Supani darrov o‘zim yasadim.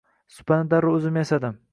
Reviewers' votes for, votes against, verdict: 2, 0, accepted